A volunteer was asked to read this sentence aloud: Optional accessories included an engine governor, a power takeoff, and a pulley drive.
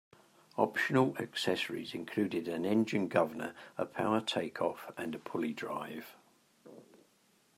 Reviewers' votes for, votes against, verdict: 2, 1, accepted